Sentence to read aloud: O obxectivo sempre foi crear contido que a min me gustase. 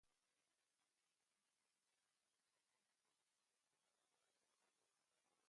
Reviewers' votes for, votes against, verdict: 0, 2, rejected